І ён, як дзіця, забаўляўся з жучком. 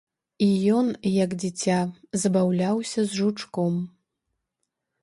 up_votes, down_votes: 1, 2